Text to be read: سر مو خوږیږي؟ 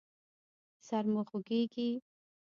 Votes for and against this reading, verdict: 1, 2, rejected